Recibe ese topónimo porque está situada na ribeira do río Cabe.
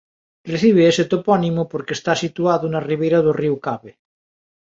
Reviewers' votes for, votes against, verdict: 1, 2, rejected